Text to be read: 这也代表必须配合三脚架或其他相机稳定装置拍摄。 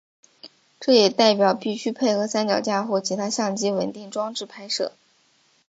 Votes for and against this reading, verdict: 4, 0, accepted